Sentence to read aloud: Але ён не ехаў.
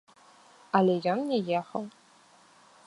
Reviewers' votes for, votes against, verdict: 2, 0, accepted